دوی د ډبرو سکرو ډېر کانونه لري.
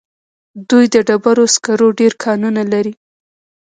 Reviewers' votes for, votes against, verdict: 0, 2, rejected